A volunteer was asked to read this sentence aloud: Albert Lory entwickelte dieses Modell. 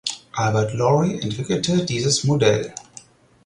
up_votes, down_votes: 4, 0